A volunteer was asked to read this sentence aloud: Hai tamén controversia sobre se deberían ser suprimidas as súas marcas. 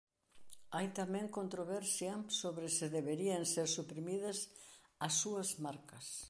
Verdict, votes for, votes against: accepted, 2, 0